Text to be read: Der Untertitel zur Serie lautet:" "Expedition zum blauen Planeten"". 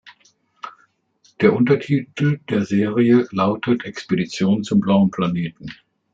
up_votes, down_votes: 0, 2